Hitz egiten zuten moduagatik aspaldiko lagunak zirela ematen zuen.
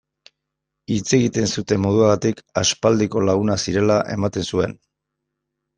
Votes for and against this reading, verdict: 2, 0, accepted